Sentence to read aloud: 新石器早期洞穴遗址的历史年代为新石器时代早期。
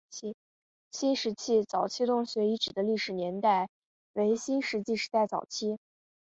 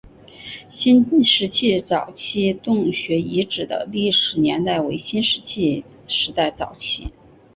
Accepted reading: second